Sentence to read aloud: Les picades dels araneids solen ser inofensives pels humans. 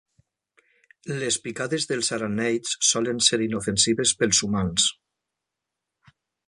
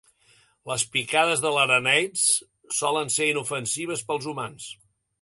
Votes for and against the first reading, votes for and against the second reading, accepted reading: 3, 0, 1, 2, first